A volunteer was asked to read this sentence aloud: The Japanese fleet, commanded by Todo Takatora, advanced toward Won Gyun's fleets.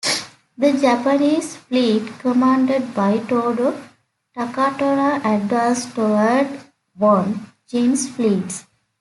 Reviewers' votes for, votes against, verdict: 2, 0, accepted